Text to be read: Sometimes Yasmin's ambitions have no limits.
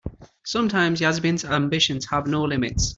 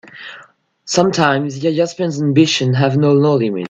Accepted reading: first